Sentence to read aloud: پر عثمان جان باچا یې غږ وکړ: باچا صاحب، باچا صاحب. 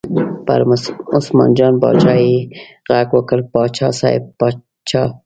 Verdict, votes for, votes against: rejected, 1, 2